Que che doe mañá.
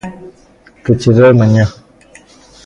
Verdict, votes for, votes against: rejected, 0, 2